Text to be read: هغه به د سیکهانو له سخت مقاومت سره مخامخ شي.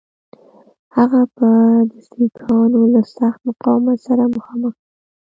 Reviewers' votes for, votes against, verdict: 0, 2, rejected